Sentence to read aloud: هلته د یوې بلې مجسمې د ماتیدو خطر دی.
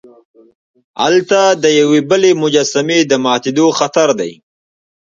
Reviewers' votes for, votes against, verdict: 0, 2, rejected